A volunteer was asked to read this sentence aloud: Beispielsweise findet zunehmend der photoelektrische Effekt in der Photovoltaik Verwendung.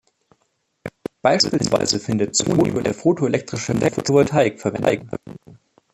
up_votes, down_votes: 0, 2